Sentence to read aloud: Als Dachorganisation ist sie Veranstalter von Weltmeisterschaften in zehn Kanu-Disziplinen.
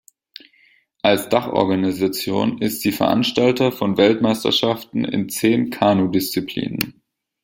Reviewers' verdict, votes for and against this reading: accepted, 2, 0